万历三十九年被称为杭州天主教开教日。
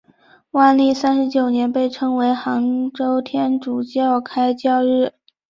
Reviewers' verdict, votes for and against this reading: accepted, 2, 0